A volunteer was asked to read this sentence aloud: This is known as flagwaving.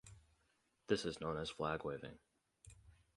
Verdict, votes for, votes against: rejected, 2, 2